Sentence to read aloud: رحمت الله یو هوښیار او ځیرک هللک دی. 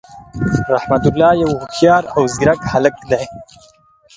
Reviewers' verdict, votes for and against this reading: rejected, 3, 4